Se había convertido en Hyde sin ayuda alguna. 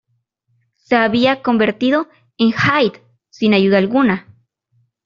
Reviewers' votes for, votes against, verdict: 2, 0, accepted